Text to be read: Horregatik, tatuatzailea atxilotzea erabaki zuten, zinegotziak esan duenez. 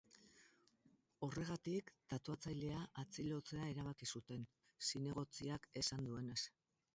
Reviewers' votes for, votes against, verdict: 4, 2, accepted